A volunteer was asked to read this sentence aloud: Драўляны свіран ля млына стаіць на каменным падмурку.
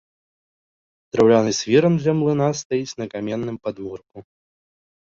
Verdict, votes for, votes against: accepted, 2, 0